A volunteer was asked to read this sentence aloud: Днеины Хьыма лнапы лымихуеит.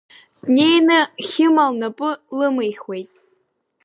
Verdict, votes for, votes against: accepted, 2, 0